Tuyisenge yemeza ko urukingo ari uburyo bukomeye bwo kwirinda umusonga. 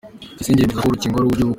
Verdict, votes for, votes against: rejected, 0, 2